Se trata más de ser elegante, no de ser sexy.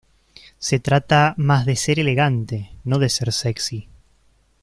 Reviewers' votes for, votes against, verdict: 2, 0, accepted